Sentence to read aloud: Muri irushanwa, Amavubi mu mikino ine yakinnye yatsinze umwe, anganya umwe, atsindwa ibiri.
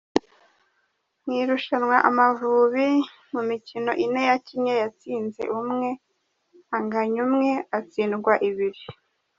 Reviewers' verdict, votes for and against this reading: rejected, 1, 2